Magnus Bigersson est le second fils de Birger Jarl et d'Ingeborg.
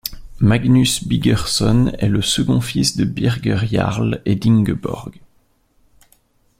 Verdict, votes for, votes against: rejected, 2, 3